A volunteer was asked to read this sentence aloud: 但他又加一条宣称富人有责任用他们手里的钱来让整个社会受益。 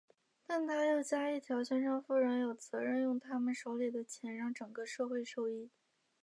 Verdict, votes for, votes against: accepted, 2, 0